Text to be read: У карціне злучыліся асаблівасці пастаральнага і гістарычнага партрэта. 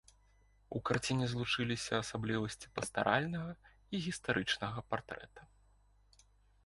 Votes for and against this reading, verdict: 2, 1, accepted